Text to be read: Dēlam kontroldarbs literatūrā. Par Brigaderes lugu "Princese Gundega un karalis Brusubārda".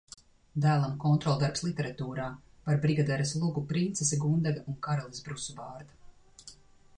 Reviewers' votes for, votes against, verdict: 2, 0, accepted